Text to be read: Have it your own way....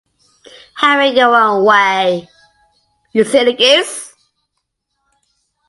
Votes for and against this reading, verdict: 0, 2, rejected